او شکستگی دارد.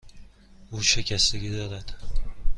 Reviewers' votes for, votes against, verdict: 2, 0, accepted